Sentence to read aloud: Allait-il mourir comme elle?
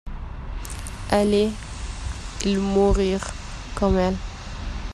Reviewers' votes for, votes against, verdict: 0, 2, rejected